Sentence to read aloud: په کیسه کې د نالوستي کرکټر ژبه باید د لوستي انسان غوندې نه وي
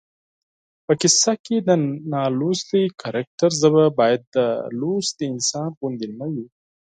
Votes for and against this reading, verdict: 4, 0, accepted